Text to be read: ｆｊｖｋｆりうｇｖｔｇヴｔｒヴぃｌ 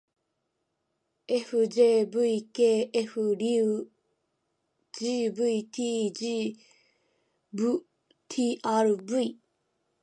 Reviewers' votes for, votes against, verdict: 2, 0, accepted